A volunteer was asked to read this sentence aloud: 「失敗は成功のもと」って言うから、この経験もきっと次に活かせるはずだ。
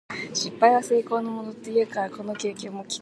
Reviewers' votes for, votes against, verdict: 0, 2, rejected